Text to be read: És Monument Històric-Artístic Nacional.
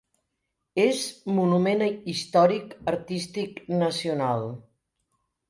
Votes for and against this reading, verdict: 1, 2, rejected